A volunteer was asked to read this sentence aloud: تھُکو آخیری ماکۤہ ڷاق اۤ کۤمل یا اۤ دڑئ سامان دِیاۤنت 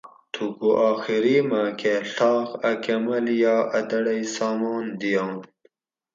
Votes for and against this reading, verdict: 2, 2, rejected